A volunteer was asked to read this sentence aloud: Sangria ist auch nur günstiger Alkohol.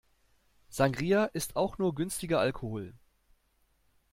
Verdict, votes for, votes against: accepted, 2, 0